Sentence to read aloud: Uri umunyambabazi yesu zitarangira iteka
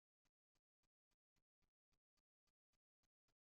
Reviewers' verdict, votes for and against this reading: rejected, 1, 2